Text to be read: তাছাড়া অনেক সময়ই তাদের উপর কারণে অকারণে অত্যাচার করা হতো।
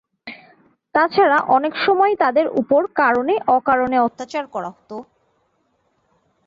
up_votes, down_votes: 2, 0